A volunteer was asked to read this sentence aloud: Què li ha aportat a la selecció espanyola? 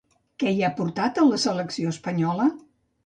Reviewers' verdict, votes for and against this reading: rejected, 0, 2